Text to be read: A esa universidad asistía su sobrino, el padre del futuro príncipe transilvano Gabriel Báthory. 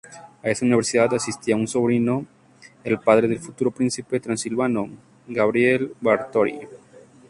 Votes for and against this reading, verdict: 0, 2, rejected